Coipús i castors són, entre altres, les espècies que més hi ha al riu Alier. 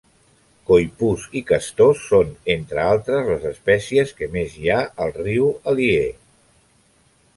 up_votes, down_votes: 2, 0